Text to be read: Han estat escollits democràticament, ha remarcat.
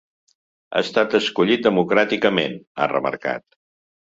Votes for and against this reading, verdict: 0, 2, rejected